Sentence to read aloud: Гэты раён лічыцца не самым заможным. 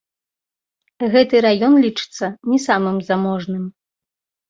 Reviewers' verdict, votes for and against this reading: rejected, 1, 2